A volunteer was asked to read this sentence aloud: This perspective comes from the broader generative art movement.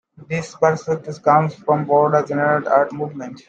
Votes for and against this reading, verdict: 0, 2, rejected